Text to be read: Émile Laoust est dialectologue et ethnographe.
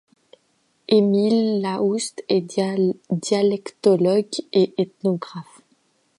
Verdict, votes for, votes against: rejected, 0, 2